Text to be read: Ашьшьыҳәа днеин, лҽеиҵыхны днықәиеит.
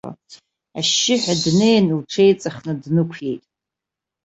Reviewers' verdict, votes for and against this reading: rejected, 0, 2